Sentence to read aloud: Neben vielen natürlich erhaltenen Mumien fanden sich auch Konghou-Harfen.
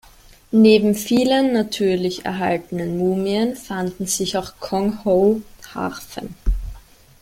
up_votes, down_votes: 2, 0